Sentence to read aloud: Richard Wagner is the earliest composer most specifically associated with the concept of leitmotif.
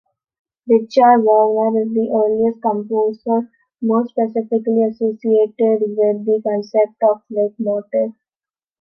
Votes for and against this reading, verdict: 3, 2, accepted